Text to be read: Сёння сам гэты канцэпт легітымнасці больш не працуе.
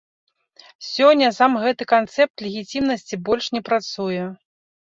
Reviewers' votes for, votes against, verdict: 0, 2, rejected